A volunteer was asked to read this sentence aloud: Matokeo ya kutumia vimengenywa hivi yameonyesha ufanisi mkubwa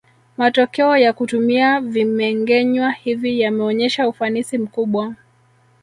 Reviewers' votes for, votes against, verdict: 0, 2, rejected